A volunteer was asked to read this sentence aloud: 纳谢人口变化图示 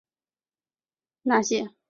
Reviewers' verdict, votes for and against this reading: rejected, 1, 2